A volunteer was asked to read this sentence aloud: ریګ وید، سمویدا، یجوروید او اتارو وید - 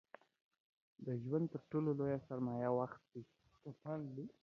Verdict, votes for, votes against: rejected, 0, 2